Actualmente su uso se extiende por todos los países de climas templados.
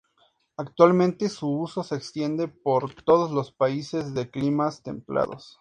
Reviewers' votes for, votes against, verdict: 2, 0, accepted